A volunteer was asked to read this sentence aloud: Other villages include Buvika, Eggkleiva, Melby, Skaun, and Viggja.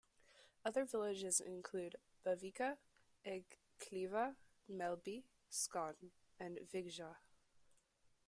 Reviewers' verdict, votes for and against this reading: accepted, 2, 0